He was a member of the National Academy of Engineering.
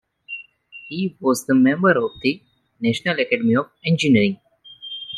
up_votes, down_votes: 1, 2